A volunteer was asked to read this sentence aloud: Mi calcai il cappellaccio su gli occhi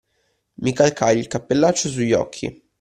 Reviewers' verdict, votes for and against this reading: accepted, 2, 0